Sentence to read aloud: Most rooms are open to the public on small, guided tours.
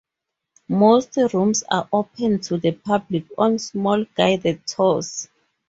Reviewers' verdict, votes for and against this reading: accepted, 2, 0